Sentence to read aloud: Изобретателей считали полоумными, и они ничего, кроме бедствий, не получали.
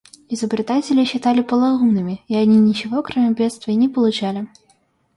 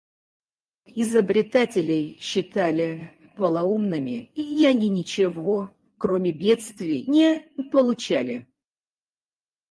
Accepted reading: first